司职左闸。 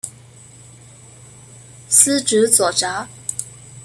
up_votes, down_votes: 2, 0